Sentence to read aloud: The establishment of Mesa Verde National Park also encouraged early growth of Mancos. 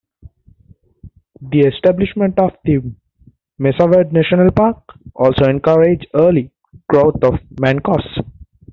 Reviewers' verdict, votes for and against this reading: rejected, 0, 2